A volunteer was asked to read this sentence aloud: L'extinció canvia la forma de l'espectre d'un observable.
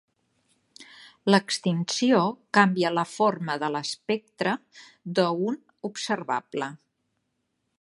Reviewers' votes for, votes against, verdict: 1, 2, rejected